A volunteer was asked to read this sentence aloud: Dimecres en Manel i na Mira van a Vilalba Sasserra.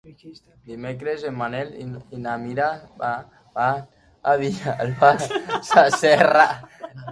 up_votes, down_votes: 1, 2